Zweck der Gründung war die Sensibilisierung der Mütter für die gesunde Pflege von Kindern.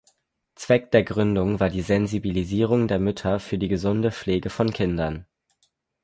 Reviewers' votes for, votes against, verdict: 4, 0, accepted